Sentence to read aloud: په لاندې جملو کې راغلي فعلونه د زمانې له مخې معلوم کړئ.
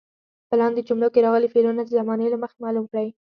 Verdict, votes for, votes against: accepted, 2, 0